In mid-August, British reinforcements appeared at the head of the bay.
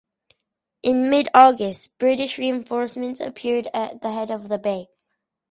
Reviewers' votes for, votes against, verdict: 4, 0, accepted